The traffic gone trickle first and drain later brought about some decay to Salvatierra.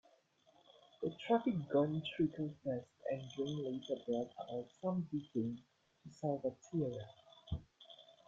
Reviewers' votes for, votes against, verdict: 2, 0, accepted